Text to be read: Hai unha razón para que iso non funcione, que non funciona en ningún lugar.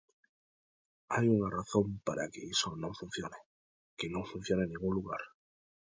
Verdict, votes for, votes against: accepted, 2, 0